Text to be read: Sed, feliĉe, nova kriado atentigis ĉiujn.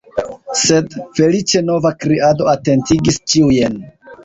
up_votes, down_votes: 2, 1